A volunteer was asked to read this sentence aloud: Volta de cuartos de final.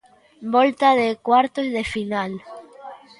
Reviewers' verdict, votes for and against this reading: accepted, 3, 0